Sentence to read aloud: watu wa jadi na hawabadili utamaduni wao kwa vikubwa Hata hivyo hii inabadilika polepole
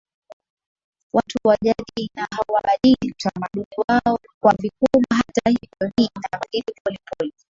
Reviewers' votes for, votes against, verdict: 2, 1, accepted